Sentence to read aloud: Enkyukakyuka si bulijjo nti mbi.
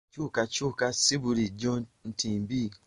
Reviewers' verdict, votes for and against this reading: rejected, 1, 2